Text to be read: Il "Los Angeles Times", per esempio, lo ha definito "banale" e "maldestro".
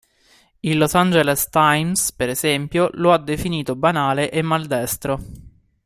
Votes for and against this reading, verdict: 2, 0, accepted